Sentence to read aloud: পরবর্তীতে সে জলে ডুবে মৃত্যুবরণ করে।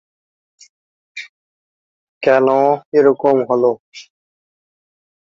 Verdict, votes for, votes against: rejected, 0, 7